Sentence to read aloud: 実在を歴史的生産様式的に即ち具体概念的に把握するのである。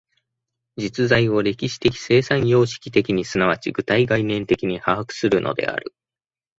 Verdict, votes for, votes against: accepted, 2, 0